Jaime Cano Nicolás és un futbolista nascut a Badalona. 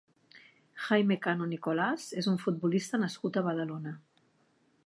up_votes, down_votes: 3, 0